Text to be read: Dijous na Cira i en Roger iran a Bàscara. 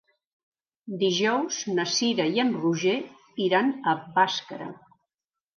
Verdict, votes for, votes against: accepted, 4, 0